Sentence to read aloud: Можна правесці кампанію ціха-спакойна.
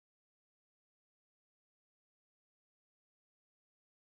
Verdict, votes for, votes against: rejected, 0, 3